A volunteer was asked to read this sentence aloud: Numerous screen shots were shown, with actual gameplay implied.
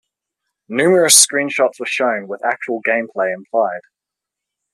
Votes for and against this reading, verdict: 2, 0, accepted